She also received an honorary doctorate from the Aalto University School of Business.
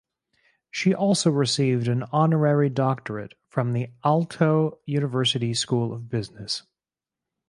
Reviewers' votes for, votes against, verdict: 4, 0, accepted